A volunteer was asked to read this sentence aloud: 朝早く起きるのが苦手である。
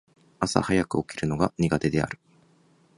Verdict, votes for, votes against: accepted, 4, 0